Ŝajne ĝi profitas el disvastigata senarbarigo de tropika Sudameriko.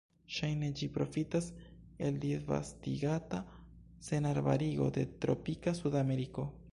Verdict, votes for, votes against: rejected, 1, 2